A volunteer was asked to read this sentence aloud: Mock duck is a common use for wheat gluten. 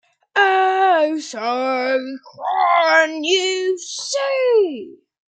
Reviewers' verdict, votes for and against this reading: rejected, 0, 2